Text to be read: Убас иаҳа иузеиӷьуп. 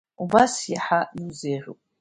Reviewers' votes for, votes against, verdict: 0, 2, rejected